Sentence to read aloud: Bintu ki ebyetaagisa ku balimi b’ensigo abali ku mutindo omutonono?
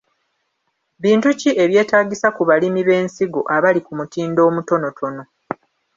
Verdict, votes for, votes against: rejected, 1, 2